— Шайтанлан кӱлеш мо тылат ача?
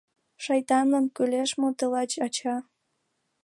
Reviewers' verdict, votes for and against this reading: rejected, 0, 2